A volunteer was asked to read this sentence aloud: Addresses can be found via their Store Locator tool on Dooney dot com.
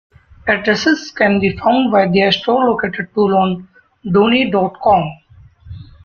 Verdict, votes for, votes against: rejected, 0, 2